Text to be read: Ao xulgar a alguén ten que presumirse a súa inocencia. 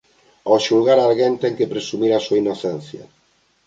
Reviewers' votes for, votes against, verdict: 1, 2, rejected